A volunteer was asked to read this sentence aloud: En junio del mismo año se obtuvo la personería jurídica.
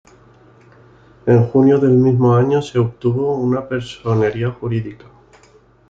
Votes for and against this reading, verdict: 0, 2, rejected